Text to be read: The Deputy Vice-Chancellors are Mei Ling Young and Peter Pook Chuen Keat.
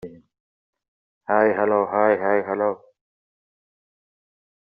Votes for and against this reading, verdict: 0, 2, rejected